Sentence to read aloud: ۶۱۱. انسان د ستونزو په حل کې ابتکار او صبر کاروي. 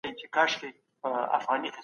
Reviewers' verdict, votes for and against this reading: rejected, 0, 2